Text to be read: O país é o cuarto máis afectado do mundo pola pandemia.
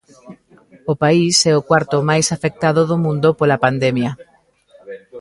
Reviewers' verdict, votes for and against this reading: rejected, 1, 2